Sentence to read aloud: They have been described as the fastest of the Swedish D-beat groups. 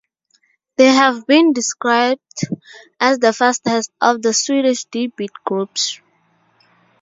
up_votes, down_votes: 2, 0